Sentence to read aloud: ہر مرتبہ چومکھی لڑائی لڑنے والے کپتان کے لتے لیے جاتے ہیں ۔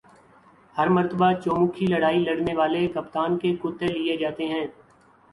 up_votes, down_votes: 0, 2